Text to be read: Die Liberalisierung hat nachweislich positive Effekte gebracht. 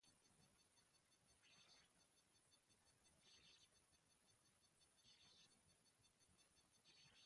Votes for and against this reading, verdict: 0, 2, rejected